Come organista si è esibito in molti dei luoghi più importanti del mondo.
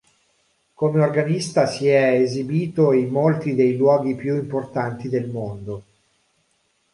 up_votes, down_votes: 2, 0